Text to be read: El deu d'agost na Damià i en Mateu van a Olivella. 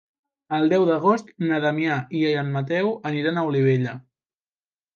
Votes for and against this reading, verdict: 1, 2, rejected